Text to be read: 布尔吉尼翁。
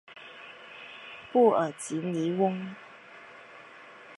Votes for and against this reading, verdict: 3, 0, accepted